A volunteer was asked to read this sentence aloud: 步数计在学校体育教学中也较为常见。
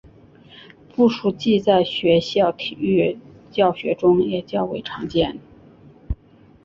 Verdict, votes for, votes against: accepted, 2, 0